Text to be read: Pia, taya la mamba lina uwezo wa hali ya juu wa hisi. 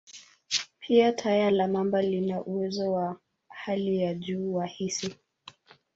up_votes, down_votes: 1, 2